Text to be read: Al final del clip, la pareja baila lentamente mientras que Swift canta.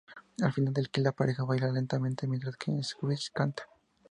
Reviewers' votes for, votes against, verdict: 0, 2, rejected